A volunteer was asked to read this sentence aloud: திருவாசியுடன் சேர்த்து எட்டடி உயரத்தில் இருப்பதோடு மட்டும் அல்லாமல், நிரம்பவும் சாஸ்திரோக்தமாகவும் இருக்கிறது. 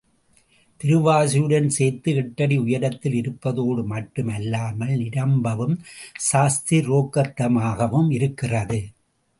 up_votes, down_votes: 0, 2